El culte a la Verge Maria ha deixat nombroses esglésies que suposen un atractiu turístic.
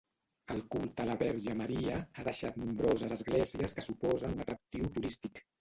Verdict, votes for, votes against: rejected, 0, 2